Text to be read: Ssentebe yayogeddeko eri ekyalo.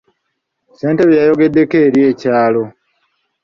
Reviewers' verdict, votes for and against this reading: accepted, 2, 0